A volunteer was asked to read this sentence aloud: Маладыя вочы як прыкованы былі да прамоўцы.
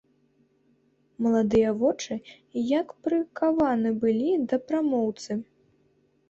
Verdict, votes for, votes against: rejected, 0, 2